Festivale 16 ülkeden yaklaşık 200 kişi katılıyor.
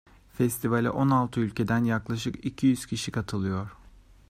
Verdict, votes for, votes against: rejected, 0, 2